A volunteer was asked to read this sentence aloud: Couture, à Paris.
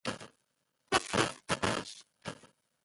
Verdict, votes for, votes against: rejected, 0, 2